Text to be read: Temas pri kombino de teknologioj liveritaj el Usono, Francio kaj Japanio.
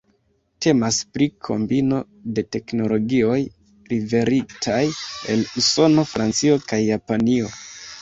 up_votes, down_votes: 1, 2